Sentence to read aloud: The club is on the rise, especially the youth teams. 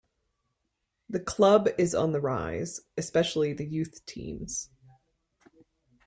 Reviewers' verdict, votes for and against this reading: accepted, 2, 0